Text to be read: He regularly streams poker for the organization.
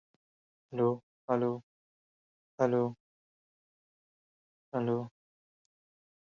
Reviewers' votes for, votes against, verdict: 0, 2, rejected